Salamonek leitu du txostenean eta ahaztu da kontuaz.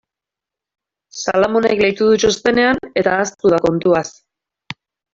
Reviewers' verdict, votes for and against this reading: accepted, 2, 0